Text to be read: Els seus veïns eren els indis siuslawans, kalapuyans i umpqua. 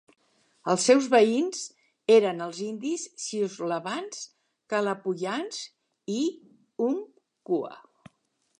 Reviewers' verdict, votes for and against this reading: accepted, 3, 0